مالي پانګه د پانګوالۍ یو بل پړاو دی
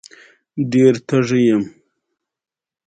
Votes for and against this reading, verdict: 2, 1, accepted